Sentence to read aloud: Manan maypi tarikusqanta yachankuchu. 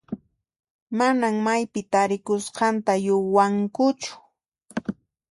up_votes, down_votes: 2, 0